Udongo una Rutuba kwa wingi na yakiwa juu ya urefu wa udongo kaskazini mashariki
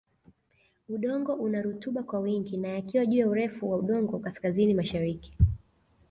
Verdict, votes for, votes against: rejected, 1, 2